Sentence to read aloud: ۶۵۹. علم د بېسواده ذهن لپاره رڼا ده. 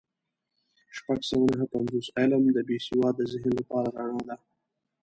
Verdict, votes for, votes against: rejected, 0, 2